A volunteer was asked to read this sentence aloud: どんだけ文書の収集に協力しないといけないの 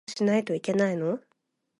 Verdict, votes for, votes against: rejected, 1, 2